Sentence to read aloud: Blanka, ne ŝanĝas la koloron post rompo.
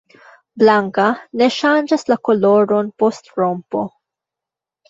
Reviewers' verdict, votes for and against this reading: accepted, 2, 1